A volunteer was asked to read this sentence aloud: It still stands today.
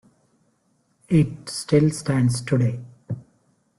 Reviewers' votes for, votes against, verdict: 2, 0, accepted